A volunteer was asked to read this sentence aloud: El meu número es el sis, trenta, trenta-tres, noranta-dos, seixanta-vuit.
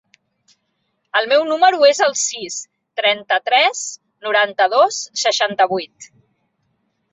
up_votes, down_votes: 1, 2